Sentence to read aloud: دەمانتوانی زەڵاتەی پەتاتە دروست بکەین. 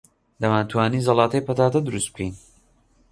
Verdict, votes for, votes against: accepted, 2, 0